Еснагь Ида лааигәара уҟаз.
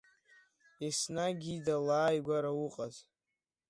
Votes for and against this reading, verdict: 2, 0, accepted